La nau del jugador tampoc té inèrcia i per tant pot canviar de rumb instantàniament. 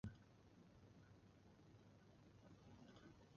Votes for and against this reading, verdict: 0, 2, rejected